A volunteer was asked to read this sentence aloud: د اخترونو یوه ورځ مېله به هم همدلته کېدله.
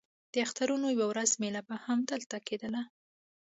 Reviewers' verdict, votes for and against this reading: accepted, 2, 0